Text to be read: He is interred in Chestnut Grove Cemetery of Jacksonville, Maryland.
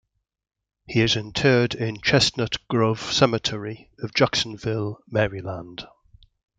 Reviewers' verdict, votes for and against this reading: accepted, 2, 0